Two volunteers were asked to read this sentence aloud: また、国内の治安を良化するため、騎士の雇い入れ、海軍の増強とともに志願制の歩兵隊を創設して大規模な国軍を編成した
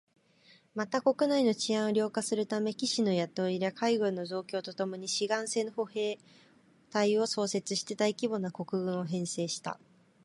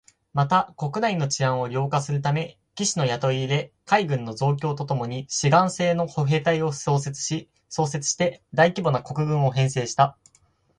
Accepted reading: first